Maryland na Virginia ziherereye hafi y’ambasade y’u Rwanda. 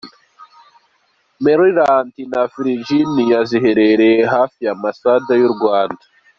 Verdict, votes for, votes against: accepted, 2, 1